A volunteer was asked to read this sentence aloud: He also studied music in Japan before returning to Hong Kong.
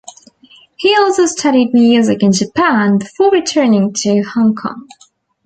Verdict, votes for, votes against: accepted, 2, 0